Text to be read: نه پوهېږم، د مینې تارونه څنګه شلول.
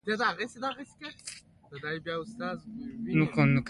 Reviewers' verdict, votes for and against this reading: rejected, 0, 2